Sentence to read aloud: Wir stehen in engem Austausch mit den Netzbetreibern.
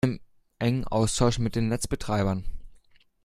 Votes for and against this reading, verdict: 0, 2, rejected